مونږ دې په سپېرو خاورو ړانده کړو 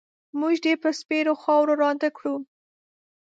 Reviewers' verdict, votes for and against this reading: accepted, 2, 0